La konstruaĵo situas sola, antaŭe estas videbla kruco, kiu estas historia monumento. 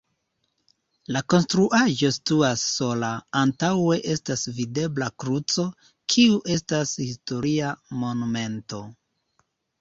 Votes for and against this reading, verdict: 3, 0, accepted